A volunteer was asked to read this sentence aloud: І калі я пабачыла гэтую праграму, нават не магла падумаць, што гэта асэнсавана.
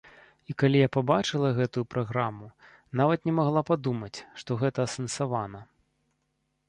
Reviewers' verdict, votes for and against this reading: accepted, 3, 0